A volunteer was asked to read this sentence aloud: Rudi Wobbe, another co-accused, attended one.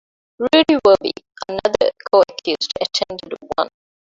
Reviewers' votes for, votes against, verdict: 0, 2, rejected